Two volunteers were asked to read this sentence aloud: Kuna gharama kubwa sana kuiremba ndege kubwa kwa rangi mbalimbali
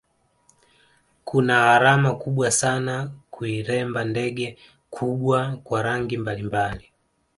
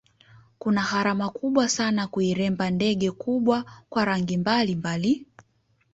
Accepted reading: first